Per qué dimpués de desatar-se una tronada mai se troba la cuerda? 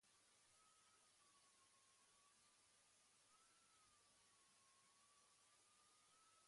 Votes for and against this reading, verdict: 1, 2, rejected